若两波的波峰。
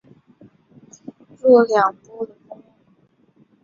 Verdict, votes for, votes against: rejected, 1, 2